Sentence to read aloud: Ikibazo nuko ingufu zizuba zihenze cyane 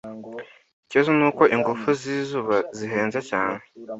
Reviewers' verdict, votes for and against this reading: accepted, 2, 0